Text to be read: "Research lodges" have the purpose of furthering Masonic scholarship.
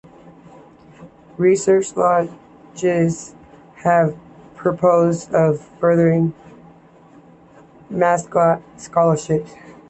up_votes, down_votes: 1, 3